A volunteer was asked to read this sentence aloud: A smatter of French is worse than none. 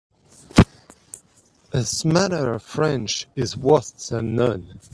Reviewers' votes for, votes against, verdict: 0, 2, rejected